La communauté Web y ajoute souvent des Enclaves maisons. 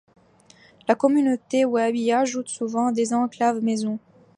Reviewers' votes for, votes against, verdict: 2, 0, accepted